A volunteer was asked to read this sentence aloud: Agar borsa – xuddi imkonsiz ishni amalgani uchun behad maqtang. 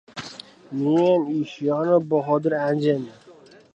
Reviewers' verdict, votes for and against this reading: rejected, 0, 2